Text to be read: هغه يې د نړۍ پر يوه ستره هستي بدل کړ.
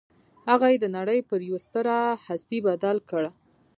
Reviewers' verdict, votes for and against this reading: accepted, 2, 0